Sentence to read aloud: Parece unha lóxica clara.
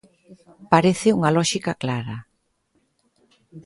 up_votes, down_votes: 2, 0